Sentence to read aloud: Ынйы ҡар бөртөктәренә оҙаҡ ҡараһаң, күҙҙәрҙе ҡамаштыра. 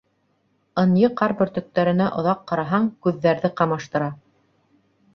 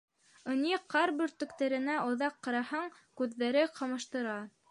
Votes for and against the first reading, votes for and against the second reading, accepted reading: 2, 0, 1, 2, first